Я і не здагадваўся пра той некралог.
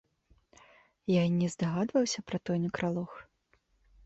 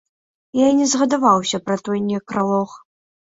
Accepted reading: first